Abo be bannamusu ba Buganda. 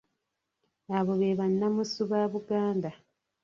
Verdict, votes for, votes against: rejected, 0, 2